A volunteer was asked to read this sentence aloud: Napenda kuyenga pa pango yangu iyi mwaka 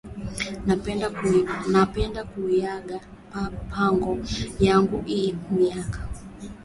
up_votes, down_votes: 0, 3